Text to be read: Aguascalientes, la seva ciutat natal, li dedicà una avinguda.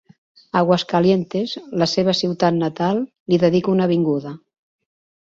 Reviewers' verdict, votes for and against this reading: rejected, 0, 2